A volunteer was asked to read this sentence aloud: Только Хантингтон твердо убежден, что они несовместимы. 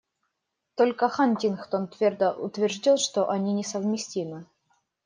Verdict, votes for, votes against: rejected, 1, 2